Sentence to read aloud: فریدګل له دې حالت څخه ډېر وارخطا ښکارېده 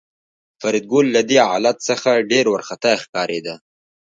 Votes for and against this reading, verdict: 2, 0, accepted